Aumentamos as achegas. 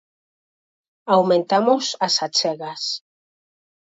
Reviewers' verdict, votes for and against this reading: accepted, 4, 0